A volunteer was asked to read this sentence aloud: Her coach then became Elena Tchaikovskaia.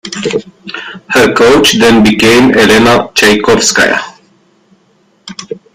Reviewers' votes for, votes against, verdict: 1, 2, rejected